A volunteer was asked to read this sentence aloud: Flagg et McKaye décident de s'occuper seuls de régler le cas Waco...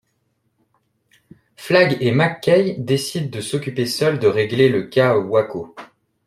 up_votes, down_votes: 2, 0